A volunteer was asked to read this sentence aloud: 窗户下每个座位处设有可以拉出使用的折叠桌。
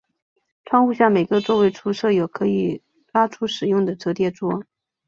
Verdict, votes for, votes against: accepted, 3, 0